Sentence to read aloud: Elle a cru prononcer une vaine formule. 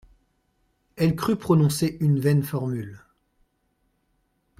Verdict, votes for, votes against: rejected, 0, 2